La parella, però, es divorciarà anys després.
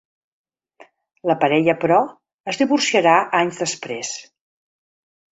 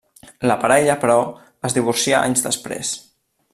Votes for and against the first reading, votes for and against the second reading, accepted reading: 3, 0, 1, 2, first